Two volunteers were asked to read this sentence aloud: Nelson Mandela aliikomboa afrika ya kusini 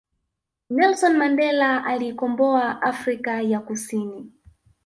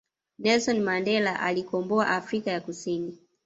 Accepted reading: second